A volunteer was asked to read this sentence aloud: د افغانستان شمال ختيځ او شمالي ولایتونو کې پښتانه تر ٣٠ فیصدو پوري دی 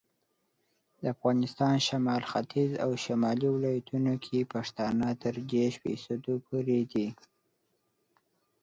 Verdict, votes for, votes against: rejected, 0, 2